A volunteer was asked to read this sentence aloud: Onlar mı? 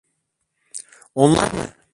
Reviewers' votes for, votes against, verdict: 1, 2, rejected